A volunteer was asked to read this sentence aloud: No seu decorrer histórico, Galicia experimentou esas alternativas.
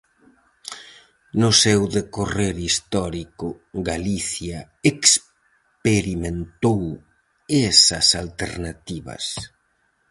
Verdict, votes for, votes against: rejected, 2, 2